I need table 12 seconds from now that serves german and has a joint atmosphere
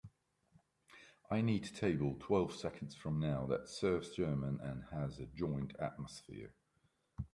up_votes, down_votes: 0, 2